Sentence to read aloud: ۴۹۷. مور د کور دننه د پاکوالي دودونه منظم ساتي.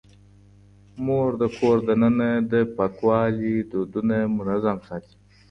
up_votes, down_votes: 0, 2